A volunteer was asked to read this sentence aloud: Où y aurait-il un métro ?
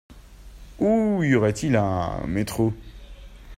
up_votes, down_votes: 2, 1